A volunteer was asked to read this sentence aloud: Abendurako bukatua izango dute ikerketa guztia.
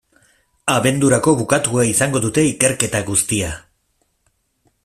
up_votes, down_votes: 2, 0